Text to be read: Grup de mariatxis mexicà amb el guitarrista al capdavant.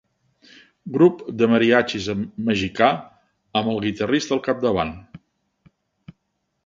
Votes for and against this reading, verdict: 1, 2, rejected